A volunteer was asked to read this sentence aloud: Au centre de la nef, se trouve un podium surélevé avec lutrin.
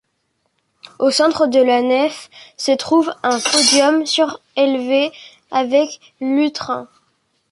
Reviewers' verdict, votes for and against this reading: rejected, 0, 2